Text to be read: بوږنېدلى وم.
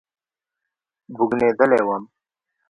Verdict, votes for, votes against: rejected, 0, 2